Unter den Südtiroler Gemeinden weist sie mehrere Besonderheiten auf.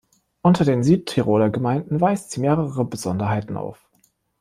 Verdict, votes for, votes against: accepted, 2, 1